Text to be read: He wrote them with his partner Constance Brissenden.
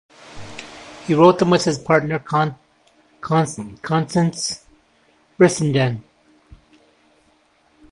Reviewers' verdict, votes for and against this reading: rejected, 0, 2